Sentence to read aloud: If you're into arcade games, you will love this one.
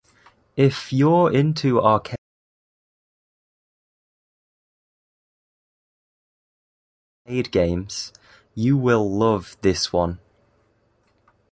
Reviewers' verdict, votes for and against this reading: rejected, 1, 2